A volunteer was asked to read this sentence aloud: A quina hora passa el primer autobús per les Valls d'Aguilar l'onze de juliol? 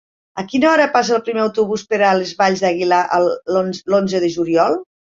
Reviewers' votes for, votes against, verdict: 0, 2, rejected